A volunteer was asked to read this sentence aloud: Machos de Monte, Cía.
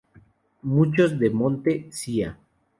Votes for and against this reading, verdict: 0, 2, rejected